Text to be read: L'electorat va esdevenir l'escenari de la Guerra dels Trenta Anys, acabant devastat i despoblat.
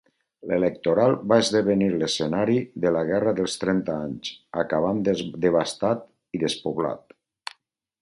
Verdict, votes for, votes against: rejected, 0, 2